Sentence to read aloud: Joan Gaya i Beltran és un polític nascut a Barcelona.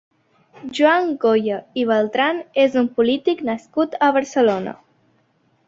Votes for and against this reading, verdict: 0, 2, rejected